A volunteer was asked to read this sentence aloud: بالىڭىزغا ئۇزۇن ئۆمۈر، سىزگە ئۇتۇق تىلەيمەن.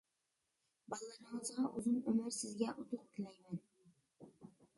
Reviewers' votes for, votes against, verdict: 0, 2, rejected